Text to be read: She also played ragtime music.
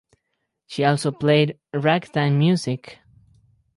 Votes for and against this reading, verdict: 4, 0, accepted